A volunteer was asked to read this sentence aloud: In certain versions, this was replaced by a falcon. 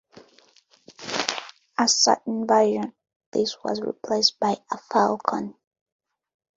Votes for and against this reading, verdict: 1, 2, rejected